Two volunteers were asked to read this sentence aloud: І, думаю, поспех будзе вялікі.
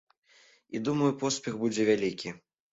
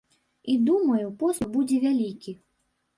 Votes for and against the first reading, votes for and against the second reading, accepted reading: 2, 0, 1, 2, first